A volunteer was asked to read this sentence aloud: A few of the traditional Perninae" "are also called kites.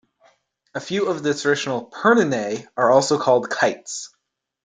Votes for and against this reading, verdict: 1, 2, rejected